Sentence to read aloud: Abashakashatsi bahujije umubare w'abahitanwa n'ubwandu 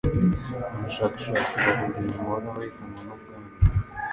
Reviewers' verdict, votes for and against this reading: rejected, 0, 2